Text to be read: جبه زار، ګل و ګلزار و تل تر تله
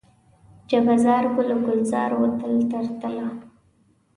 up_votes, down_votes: 2, 0